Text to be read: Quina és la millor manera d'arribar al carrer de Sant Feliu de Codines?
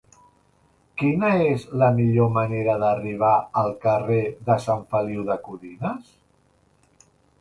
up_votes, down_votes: 1, 2